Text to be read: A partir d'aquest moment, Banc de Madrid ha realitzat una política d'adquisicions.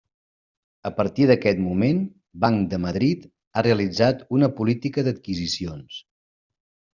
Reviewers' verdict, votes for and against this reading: accepted, 3, 0